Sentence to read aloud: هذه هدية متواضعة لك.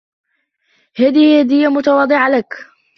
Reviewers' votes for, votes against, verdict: 2, 1, accepted